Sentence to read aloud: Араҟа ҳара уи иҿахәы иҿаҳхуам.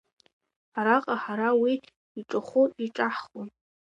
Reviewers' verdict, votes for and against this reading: accepted, 2, 0